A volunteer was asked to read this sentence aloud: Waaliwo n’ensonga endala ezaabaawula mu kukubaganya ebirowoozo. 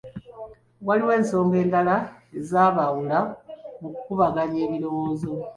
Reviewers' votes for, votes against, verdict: 1, 2, rejected